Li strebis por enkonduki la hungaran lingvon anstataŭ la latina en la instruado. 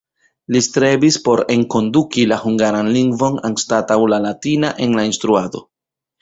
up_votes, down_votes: 2, 0